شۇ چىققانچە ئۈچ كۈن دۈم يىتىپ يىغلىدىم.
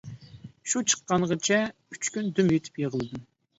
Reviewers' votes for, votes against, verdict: 0, 2, rejected